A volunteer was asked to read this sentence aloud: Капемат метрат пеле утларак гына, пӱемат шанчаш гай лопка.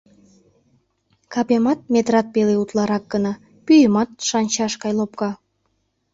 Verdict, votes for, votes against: accepted, 2, 0